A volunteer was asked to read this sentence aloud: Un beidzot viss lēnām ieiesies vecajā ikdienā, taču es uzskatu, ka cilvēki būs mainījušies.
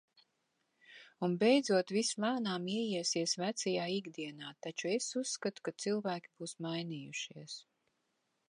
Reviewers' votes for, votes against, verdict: 2, 0, accepted